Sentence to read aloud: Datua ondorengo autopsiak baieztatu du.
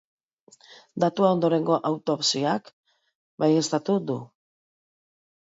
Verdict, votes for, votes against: accepted, 2, 1